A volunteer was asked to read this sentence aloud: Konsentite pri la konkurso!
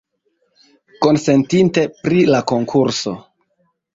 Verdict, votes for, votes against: accepted, 2, 0